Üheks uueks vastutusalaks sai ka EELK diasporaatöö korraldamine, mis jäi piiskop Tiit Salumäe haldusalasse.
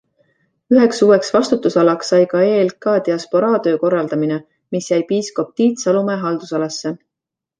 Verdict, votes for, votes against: accepted, 2, 0